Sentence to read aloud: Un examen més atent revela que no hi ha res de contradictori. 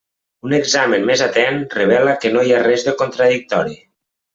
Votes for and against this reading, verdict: 3, 0, accepted